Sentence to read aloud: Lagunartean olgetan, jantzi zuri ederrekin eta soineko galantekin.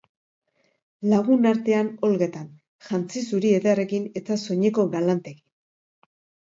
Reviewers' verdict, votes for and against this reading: rejected, 1, 2